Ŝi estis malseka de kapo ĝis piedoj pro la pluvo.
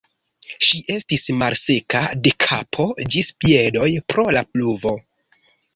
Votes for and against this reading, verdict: 2, 0, accepted